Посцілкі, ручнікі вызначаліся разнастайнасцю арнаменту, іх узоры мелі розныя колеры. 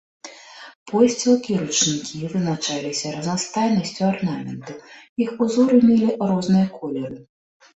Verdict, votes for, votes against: rejected, 1, 2